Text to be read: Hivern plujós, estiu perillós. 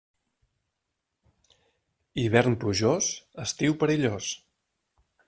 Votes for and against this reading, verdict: 3, 0, accepted